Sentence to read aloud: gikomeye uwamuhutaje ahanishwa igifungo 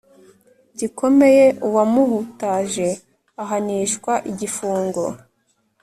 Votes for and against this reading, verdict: 2, 0, accepted